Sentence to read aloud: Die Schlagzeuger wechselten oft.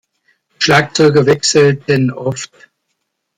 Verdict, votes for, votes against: rejected, 0, 2